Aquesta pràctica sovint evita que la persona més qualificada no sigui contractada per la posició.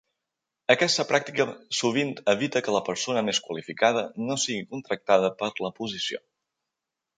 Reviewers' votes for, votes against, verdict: 1, 2, rejected